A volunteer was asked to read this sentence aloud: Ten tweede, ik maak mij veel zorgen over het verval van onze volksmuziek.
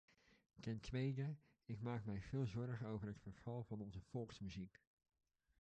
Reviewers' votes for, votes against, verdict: 1, 2, rejected